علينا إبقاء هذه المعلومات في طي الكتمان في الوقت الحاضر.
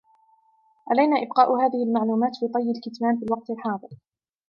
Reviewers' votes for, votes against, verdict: 2, 0, accepted